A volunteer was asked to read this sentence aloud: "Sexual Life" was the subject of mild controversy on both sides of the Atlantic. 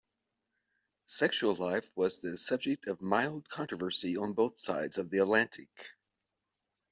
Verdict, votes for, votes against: accepted, 2, 0